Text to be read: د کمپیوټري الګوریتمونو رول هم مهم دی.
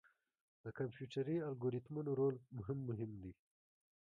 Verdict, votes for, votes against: accepted, 2, 0